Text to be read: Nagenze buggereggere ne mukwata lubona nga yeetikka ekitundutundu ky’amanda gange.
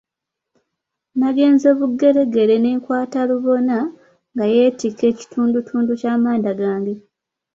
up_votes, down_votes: 0, 3